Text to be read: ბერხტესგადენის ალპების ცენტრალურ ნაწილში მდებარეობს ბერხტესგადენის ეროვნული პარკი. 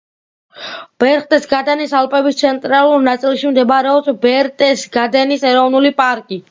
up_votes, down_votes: 2, 0